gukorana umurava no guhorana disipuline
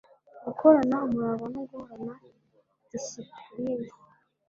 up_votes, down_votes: 1, 2